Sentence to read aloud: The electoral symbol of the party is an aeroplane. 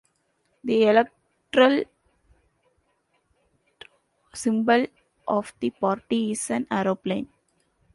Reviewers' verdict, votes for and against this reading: rejected, 1, 2